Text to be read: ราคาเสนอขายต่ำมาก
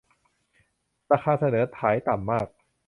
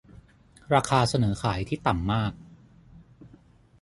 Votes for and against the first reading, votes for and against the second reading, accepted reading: 2, 0, 0, 6, first